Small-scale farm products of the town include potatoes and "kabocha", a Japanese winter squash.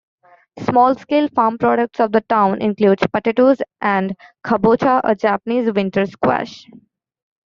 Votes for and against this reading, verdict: 0, 2, rejected